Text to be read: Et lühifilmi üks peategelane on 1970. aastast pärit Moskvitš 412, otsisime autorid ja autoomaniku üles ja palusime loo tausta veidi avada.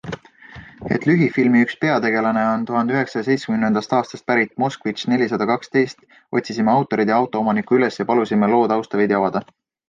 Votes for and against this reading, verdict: 0, 2, rejected